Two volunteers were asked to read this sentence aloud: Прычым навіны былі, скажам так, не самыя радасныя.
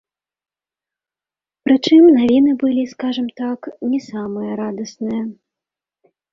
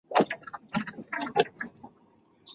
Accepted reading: first